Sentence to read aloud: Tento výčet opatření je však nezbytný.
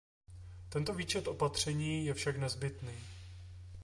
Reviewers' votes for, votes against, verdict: 2, 0, accepted